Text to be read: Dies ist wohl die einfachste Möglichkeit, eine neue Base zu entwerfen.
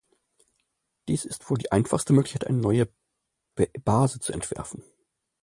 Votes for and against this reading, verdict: 0, 2, rejected